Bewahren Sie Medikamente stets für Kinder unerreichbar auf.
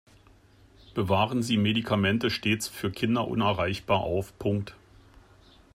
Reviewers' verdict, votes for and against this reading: rejected, 0, 2